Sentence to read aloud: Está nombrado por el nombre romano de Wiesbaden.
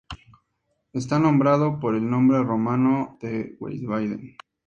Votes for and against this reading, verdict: 2, 0, accepted